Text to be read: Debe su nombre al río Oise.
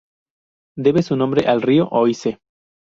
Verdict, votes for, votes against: rejected, 2, 2